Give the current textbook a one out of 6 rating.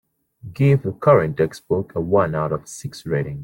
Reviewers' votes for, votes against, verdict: 0, 2, rejected